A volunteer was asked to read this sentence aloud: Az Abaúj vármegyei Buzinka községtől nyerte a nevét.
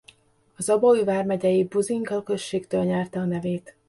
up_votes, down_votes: 2, 1